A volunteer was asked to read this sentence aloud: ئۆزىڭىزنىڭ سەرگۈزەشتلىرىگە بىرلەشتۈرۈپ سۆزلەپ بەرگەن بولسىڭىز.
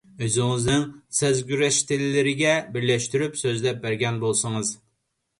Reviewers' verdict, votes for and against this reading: rejected, 0, 2